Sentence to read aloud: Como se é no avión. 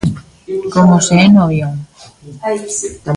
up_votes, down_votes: 1, 2